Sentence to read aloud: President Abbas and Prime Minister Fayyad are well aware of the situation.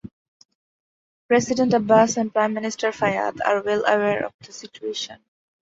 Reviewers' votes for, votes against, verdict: 2, 0, accepted